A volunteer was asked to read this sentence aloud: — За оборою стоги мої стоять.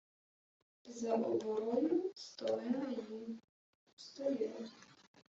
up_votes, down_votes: 0, 2